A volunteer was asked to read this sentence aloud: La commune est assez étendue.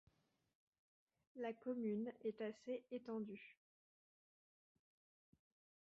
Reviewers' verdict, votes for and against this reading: rejected, 1, 2